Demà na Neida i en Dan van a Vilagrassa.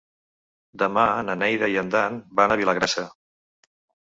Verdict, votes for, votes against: accepted, 3, 0